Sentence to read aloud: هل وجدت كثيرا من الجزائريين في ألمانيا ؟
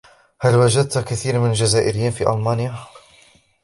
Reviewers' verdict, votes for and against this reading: accepted, 2, 0